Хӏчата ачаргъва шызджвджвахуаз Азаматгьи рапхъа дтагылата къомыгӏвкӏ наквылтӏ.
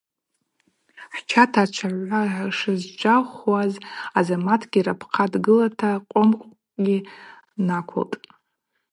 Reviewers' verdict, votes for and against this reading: rejected, 0, 4